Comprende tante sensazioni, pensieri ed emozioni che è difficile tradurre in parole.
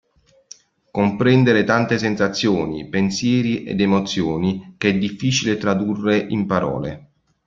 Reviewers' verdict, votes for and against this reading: rejected, 1, 2